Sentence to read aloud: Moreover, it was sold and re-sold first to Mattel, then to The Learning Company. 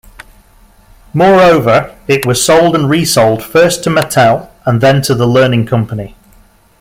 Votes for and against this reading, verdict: 2, 0, accepted